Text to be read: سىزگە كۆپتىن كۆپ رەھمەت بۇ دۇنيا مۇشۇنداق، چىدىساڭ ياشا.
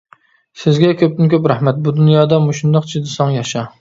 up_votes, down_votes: 0, 2